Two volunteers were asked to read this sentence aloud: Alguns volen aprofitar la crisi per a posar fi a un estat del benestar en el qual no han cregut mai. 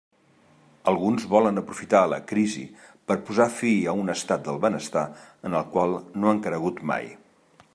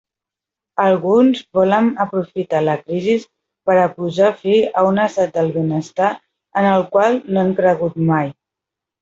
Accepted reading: first